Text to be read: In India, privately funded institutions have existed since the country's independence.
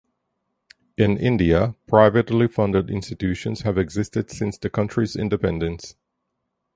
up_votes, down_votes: 4, 0